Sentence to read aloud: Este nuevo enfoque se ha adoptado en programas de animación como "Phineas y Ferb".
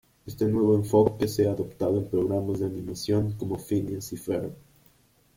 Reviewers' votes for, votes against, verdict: 0, 2, rejected